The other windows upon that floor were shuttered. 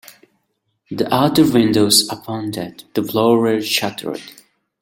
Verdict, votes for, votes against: rejected, 1, 2